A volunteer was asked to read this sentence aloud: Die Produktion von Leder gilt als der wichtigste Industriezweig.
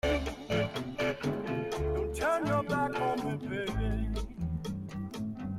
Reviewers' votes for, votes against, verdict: 0, 2, rejected